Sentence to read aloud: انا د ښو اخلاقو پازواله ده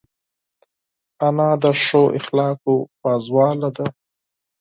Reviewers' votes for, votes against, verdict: 4, 0, accepted